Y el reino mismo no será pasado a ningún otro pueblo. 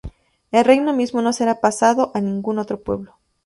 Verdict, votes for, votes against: accepted, 4, 0